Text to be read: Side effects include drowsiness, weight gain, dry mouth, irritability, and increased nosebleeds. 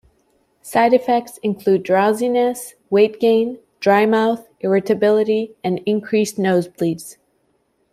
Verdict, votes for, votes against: accepted, 2, 0